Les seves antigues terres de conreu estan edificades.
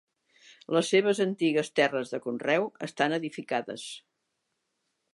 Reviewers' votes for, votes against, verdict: 3, 0, accepted